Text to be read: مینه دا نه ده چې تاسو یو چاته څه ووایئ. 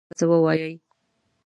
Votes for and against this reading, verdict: 0, 2, rejected